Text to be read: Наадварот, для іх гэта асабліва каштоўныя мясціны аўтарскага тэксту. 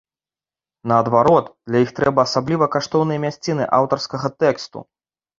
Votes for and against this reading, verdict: 2, 1, accepted